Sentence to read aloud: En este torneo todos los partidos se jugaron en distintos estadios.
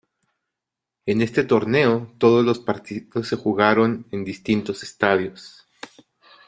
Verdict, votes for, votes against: rejected, 0, 2